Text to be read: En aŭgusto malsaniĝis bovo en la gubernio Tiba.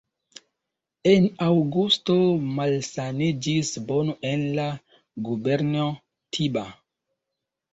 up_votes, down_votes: 2, 1